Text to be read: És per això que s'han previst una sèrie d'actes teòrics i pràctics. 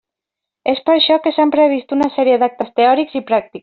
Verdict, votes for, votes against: rejected, 0, 2